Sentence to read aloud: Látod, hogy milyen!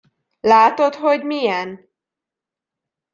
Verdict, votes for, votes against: rejected, 1, 2